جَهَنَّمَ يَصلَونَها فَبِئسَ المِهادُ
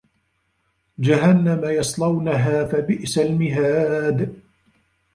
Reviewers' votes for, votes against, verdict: 1, 2, rejected